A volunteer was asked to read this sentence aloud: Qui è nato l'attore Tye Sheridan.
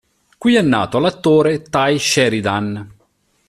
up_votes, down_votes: 2, 0